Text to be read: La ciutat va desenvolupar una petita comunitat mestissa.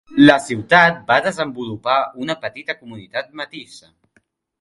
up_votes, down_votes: 0, 2